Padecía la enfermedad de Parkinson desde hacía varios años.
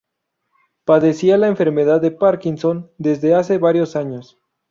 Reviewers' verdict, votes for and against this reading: rejected, 0, 2